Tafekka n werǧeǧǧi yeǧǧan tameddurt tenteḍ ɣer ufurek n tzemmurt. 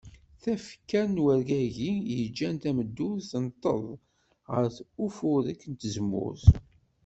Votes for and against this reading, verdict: 0, 2, rejected